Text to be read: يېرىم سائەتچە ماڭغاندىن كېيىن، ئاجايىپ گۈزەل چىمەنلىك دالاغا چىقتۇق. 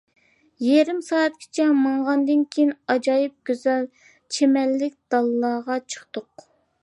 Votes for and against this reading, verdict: 0, 2, rejected